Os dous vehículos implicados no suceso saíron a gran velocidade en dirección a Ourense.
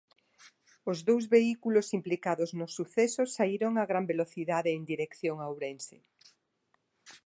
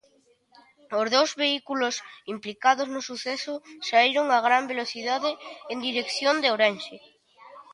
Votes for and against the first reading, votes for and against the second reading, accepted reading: 2, 0, 1, 2, first